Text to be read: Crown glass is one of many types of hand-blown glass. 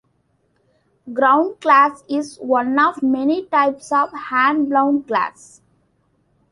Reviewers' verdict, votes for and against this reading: accepted, 2, 0